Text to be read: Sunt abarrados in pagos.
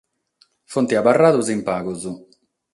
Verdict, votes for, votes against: accepted, 6, 0